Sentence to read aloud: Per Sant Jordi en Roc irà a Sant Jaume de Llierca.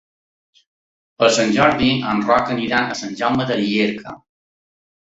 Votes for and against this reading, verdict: 0, 2, rejected